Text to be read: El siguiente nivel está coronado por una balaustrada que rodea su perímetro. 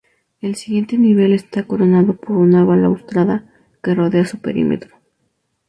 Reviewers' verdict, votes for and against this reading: accepted, 2, 0